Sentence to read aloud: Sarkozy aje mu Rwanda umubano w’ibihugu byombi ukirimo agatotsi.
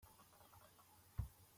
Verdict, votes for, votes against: rejected, 0, 2